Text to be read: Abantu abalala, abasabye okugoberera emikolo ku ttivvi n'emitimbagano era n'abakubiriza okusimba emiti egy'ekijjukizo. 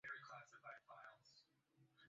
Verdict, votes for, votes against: rejected, 0, 2